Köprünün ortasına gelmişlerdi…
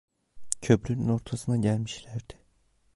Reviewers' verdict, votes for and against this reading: rejected, 1, 2